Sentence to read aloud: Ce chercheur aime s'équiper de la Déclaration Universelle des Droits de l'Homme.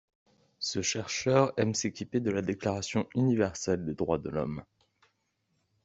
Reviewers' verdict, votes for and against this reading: accepted, 2, 0